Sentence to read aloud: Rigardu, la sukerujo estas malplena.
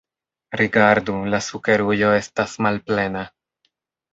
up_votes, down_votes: 2, 0